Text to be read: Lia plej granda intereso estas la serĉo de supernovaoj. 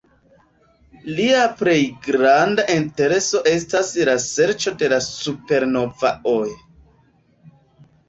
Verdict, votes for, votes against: rejected, 1, 2